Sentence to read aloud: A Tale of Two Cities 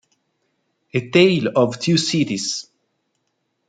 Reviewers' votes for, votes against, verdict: 2, 0, accepted